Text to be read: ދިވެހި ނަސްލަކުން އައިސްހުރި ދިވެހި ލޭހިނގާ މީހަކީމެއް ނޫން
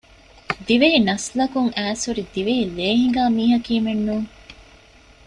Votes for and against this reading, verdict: 2, 0, accepted